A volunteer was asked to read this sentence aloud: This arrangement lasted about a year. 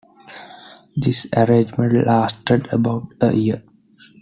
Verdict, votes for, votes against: accepted, 2, 0